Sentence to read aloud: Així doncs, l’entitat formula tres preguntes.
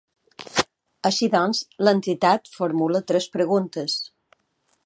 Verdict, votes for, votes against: accepted, 3, 0